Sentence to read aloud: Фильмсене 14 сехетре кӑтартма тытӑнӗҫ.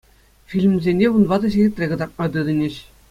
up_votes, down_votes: 0, 2